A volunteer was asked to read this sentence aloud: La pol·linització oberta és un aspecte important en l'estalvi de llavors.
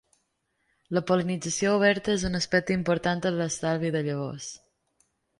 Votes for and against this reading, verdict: 3, 0, accepted